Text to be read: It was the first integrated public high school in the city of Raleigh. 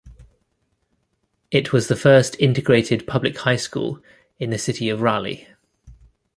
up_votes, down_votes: 2, 0